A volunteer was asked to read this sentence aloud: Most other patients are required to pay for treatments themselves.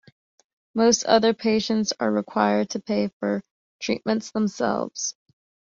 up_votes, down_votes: 2, 0